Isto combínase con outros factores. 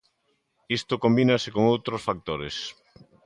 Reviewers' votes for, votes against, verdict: 2, 0, accepted